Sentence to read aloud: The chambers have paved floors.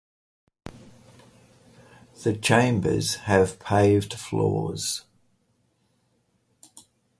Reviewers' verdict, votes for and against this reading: accepted, 4, 0